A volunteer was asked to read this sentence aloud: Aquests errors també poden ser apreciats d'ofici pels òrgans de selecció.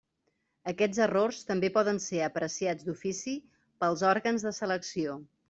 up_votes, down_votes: 3, 0